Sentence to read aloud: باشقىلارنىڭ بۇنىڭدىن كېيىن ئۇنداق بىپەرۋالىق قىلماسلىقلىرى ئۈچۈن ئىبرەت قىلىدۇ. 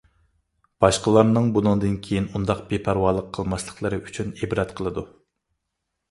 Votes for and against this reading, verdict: 2, 0, accepted